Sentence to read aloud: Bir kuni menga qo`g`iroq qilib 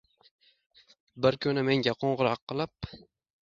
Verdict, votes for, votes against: accepted, 2, 0